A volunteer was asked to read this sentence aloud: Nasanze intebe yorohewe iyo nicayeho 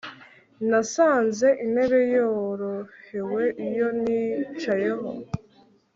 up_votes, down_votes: 2, 0